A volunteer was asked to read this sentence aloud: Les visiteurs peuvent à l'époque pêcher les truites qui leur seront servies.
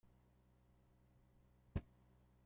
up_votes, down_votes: 0, 2